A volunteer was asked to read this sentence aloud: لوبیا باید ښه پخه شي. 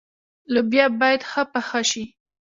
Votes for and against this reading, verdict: 3, 0, accepted